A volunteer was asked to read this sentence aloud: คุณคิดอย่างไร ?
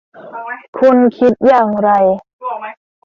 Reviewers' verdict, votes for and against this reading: rejected, 1, 2